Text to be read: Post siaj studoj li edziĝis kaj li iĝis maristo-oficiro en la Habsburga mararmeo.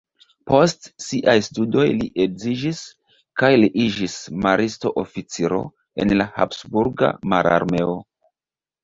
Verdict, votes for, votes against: accepted, 2, 0